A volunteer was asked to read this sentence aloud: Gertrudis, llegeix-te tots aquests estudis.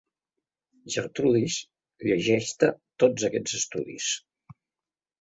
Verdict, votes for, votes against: accepted, 2, 0